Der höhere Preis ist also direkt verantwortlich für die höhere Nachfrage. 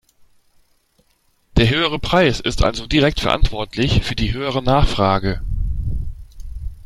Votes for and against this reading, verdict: 2, 0, accepted